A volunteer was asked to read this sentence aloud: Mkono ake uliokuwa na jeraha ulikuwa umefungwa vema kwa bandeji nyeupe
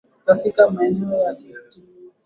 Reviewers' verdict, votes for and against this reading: rejected, 0, 2